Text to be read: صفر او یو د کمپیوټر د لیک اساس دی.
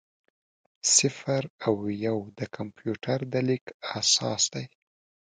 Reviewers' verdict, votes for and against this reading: accepted, 2, 0